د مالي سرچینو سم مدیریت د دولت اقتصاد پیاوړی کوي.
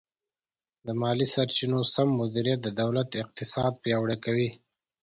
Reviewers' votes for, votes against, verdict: 2, 0, accepted